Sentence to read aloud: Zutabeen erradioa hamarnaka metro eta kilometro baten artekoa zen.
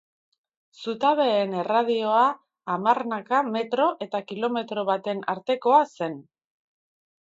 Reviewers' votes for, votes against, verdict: 2, 0, accepted